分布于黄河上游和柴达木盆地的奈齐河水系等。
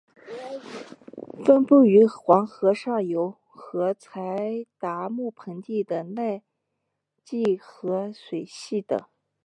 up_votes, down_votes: 2, 3